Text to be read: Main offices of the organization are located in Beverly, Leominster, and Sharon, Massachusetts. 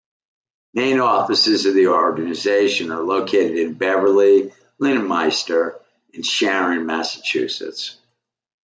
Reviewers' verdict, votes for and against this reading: accepted, 2, 1